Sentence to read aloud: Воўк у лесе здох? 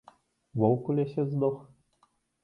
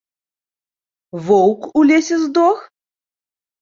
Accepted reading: second